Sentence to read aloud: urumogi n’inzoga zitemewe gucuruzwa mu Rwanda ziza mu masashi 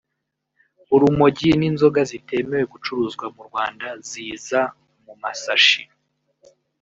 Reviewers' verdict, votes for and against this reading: rejected, 1, 2